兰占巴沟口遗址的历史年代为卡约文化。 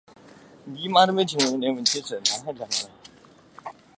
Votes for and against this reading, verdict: 0, 2, rejected